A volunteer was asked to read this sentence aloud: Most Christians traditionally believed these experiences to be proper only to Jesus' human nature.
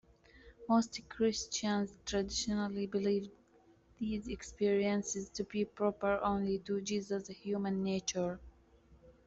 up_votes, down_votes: 1, 2